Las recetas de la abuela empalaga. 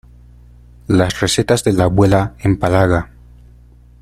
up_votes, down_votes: 2, 0